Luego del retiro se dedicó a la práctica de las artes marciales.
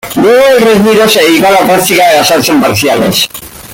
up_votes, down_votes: 0, 2